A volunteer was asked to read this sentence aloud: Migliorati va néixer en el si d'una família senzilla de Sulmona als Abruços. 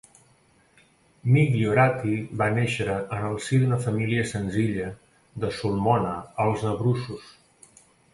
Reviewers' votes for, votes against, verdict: 2, 0, accepted